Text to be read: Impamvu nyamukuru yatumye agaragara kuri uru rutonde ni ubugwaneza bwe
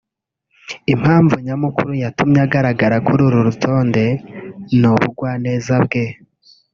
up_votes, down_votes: 2, 0